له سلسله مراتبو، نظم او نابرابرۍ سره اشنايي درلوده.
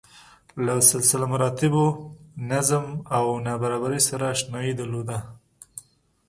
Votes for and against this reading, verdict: 2, 0, accepted